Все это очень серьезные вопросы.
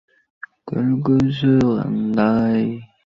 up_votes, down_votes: 0, 2